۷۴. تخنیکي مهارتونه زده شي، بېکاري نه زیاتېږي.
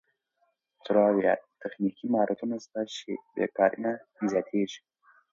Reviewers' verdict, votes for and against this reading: rejected, 0, 2